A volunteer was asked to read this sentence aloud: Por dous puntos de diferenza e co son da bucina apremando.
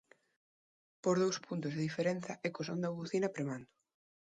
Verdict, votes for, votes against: accepted, 2, 1